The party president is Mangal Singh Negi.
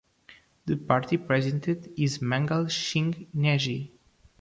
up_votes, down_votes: 0, 2